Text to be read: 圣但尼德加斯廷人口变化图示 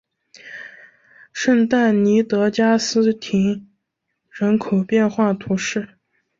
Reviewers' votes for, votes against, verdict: 1, 2, rejected